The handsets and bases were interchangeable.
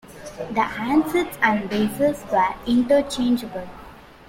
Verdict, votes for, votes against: accepted, 2, 0